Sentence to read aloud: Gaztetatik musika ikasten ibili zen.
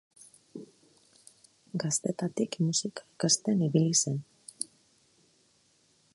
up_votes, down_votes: 2, 0